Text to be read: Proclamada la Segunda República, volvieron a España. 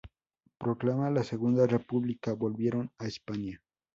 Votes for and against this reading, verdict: 2, 0, accepted